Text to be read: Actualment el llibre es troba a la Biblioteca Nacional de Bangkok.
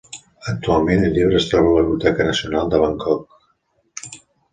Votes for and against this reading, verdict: 2, 1, accepted